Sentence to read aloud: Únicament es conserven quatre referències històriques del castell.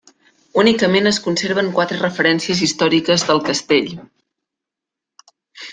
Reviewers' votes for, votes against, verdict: 3, 0, accepted